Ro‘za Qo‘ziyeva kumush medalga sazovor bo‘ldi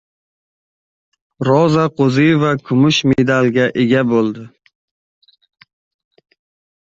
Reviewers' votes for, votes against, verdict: 0, 2, rejected